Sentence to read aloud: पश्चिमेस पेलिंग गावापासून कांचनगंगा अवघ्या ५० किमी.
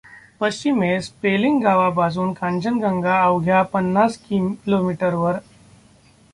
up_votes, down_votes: 0, 2